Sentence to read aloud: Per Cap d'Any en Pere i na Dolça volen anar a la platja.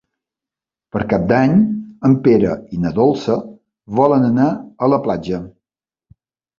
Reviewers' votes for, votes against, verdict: 3, 0, accepted